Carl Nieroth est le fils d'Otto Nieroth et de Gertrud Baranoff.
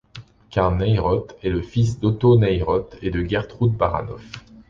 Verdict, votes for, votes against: accepted, 2, 0